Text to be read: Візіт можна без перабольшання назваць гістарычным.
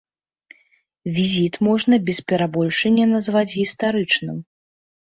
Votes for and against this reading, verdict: 3, 0, accepted